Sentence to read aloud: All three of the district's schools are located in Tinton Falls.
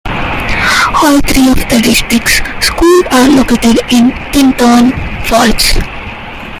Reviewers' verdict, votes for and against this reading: rejected, 1, 2